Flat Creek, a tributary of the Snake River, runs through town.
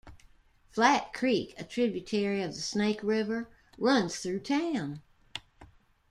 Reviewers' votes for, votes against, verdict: 2, 1, accepted